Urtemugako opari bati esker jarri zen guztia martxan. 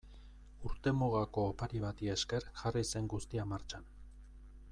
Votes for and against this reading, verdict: 2, 1, accepted